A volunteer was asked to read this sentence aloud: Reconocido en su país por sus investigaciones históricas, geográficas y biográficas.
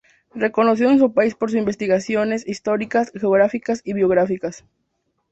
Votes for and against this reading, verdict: 6, 0, accepted